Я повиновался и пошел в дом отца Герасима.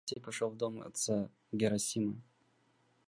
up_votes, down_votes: 0, 2